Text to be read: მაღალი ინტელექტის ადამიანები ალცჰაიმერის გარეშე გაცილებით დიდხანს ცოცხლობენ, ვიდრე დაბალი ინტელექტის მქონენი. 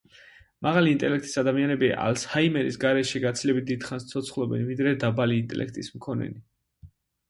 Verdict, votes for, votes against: accepted, 2, 0